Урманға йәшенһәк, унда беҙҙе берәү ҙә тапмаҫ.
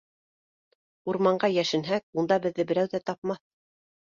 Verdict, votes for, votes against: accepted, 2, 0